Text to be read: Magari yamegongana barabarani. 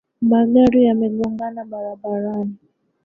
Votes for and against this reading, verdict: 0, 2, rejected